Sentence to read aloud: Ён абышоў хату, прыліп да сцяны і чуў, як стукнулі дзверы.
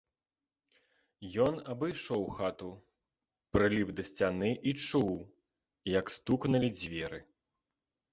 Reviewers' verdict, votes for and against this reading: accepted, 2, 1